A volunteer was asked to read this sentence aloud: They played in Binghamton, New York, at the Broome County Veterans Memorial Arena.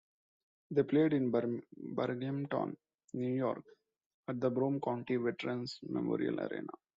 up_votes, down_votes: 1, 2